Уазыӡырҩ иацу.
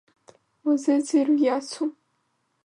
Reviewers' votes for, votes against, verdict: 2, 3, rejected